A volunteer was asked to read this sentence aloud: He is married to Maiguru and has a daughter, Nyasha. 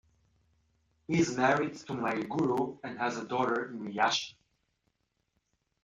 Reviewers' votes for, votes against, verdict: 1, 2, rejected